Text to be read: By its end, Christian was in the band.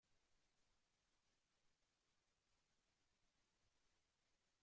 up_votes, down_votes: 0, 2